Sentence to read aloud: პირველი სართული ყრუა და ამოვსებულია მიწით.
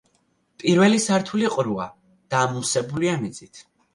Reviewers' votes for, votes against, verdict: 2, 0, accepted